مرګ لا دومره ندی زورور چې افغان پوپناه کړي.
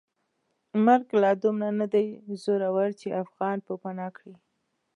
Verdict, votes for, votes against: accepted, 2, 0